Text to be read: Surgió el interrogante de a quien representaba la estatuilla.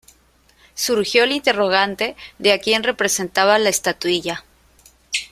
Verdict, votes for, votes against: accepted, 3, 0